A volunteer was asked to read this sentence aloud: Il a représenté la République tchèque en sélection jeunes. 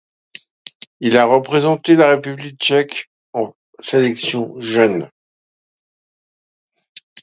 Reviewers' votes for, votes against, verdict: 2, 0, accepted